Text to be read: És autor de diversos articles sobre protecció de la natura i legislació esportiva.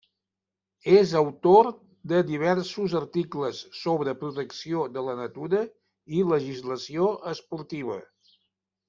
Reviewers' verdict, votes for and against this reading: accepted, 3, 0